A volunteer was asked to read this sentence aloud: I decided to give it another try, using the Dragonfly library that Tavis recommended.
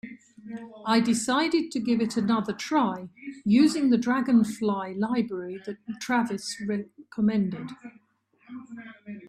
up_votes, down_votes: 2, 3